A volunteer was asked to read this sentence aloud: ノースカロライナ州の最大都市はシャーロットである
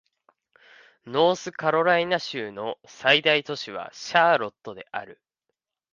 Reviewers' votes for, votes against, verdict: 2, 0, accepted